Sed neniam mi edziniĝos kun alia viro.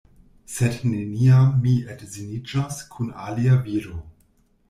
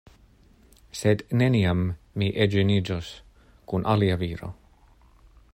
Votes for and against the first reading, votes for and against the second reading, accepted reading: 1, 2, 2, 0, second